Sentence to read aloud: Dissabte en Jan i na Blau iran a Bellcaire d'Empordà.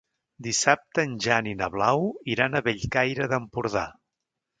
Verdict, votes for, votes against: accepted, 3, 0